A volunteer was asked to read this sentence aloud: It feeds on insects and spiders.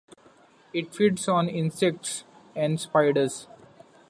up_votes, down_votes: 2, 1